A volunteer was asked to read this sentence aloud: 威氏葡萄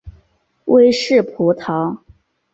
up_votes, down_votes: 0, 2